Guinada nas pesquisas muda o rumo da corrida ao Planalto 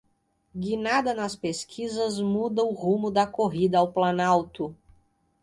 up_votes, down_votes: 2, 0